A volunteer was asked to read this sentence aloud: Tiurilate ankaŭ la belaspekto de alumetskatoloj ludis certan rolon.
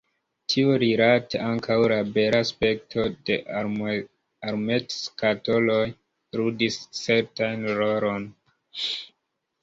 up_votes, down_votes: 0, 3